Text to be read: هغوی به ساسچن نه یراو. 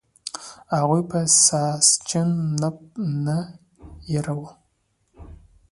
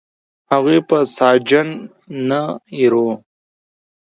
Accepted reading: second